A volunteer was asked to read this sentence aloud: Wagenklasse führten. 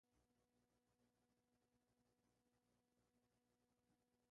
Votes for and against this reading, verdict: 0, 2, rejected